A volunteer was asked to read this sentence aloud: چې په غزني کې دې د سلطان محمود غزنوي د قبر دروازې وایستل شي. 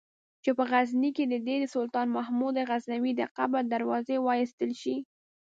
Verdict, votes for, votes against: accepted, 2, 0